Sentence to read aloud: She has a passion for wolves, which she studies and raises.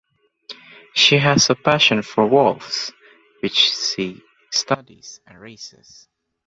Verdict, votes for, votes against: rejected, 1, 2